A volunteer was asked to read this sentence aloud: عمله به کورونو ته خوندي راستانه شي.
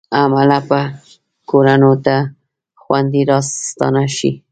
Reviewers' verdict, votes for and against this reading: rejected, 1, 2